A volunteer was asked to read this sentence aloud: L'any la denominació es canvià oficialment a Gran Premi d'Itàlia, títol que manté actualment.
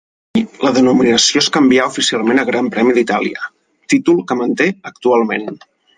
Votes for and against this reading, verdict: 0, 6, rejected